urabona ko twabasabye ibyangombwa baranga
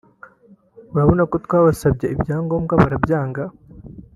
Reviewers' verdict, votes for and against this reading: rejected, 0, 2